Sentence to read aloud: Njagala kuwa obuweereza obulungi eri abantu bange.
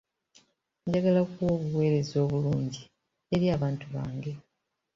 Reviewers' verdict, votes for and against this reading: accepted, 2, 0